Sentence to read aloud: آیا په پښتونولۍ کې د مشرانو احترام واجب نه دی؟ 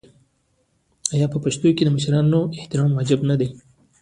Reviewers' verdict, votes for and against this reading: rejected, 1, 2